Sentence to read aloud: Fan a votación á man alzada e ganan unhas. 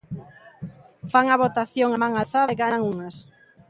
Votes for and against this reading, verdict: 0, 2, rejected